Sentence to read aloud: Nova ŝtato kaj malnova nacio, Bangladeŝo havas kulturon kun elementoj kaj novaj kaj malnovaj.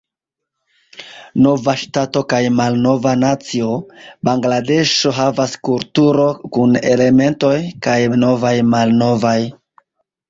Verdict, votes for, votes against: rejected, 1, 2